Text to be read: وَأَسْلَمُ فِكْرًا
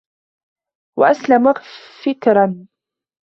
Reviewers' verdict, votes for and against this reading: rejected, 0, 2